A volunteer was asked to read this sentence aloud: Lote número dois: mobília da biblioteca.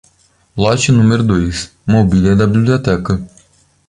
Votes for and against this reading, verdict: 2, 0, accepted